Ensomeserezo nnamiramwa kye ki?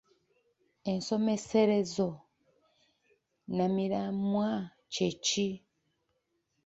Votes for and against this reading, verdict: 2, 0, accepted